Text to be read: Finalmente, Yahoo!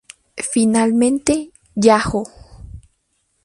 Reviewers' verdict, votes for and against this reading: rejected, 2, 2